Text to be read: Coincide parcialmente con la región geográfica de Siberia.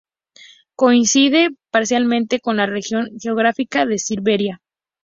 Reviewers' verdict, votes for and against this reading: accepted, 2, 0